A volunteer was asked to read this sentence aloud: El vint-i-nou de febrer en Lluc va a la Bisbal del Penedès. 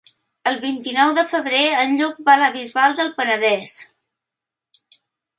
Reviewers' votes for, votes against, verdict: 3, 0, accepted